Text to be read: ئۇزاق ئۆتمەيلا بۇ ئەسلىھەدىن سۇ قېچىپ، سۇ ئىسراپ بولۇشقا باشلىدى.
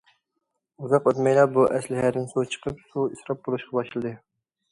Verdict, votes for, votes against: rejected, 0, 2